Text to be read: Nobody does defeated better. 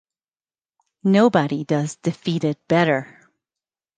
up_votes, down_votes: 2, 0